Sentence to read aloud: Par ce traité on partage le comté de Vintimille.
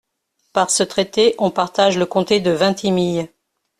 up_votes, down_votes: 2, 0